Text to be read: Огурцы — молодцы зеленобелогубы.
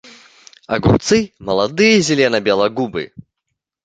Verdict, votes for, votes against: rejected, 1, 2